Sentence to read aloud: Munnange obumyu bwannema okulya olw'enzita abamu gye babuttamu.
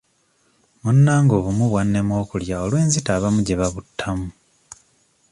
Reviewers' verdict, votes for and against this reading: accepted, 2, 0